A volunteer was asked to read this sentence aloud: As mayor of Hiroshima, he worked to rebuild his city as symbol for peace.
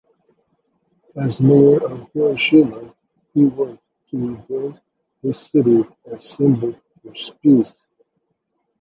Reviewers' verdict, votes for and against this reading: rejected, 1, 2